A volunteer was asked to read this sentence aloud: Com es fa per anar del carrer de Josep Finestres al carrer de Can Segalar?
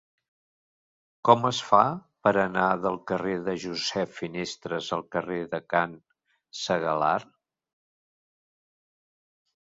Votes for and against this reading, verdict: 2, 0, accepted